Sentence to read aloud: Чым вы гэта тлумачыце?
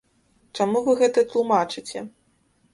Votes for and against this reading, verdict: 1, 2, rejected